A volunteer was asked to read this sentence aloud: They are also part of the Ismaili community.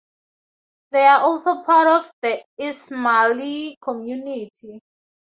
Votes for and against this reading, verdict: 4, 0, accepted